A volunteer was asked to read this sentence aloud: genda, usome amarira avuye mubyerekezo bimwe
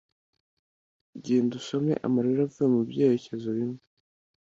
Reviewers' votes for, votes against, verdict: 2, 0, accepted